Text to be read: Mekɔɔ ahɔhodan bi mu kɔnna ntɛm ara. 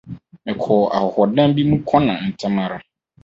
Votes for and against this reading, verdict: 2, 2, rejected